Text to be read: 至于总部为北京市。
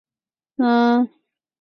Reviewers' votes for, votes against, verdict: 0, 4, rejected